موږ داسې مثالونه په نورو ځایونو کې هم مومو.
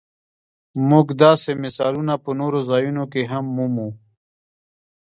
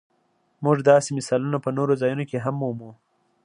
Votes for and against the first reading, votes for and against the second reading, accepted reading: 1, 2, 2, 0, second